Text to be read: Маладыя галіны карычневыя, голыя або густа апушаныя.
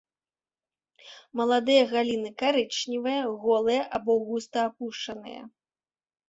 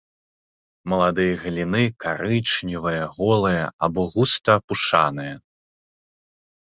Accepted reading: first